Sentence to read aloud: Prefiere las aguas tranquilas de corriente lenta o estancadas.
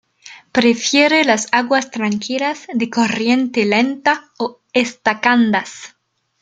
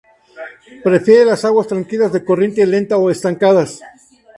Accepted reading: second